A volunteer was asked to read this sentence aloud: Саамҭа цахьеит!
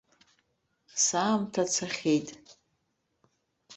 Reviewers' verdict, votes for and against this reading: accepted, 2, 1